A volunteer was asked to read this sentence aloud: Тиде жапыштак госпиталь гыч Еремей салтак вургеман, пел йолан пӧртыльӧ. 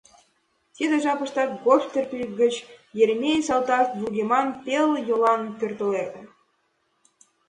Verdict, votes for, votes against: rejected, 0, 2